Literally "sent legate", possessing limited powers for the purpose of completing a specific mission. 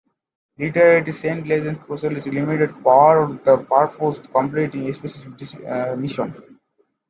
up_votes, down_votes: 0, 2